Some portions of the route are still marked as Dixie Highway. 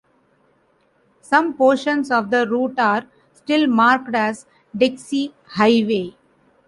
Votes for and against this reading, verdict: 0, 2, rejected